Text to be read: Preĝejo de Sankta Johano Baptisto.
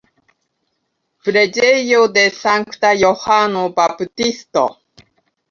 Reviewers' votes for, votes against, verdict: 2, 1, accepted